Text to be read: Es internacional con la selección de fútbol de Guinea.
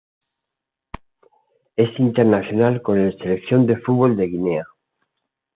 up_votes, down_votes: 2, 0